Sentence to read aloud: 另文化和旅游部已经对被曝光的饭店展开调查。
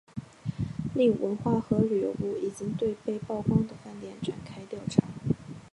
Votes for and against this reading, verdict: 2, 0, accepted